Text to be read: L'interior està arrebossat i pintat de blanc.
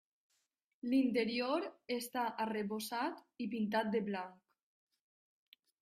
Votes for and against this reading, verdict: 3, 1, accepted